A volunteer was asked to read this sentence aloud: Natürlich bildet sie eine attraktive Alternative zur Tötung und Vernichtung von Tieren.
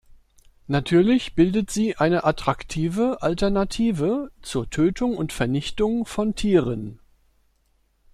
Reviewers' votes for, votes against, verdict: 2, 0, accepted